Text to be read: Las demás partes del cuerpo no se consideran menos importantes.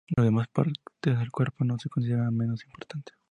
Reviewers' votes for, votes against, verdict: 4, 0, accepted